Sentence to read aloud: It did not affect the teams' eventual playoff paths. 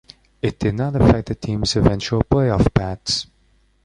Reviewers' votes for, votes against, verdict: 2, 1, accepted